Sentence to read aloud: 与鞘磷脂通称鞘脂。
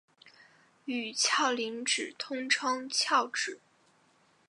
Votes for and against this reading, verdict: 2, 1, accepted